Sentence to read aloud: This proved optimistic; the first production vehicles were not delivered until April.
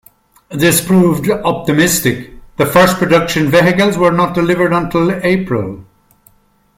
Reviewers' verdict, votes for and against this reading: rejected, 1, 2